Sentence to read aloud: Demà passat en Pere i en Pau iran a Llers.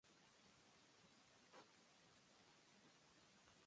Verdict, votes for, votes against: rejected, 1, 2